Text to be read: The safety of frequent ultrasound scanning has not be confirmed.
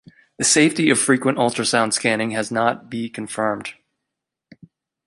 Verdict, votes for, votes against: accepted, 2, 0